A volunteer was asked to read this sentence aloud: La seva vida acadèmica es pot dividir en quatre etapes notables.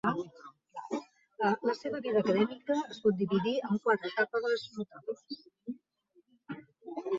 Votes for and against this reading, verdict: 1, 2, rejected